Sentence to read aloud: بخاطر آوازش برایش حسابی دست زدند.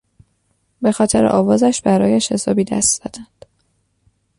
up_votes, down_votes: 2, 0